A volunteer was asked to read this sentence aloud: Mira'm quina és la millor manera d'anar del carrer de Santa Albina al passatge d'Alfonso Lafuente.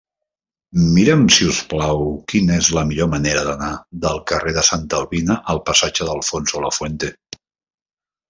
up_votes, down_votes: 0, 2